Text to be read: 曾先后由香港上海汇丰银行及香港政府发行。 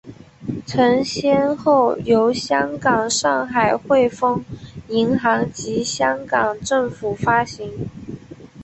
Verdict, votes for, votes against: rejected, 0, 2